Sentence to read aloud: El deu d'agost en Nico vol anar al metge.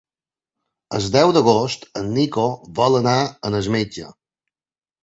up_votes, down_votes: 0, 2